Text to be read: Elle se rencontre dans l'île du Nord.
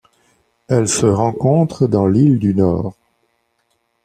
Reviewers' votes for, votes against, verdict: 2, 0, accepted